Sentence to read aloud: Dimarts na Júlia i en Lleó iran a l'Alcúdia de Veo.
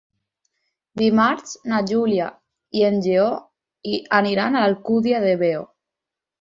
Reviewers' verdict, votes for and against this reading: rejected, 2, 4